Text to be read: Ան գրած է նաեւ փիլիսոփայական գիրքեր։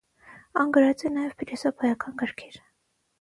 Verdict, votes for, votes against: rejected, 3, 3